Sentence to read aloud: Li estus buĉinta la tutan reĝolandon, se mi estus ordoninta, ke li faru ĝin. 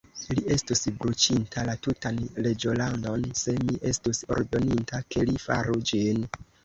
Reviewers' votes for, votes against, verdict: 1, 2, rejected